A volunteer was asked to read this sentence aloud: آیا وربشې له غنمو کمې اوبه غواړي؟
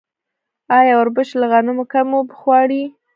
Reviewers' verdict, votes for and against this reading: rejected, 0, 2